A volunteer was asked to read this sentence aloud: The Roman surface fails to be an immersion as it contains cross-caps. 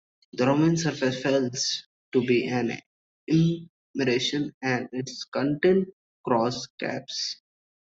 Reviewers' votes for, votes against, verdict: 0, 3, rejected